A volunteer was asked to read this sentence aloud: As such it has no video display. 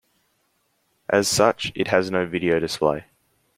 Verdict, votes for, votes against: accepted, 2, 0